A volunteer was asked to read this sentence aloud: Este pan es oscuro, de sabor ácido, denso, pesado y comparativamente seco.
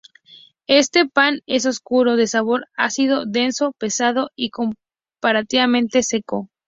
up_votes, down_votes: 2, 0